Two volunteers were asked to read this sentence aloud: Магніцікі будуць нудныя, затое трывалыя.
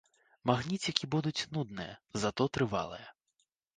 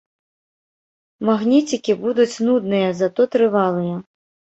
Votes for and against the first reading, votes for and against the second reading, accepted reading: 2, 0, 0, 2, first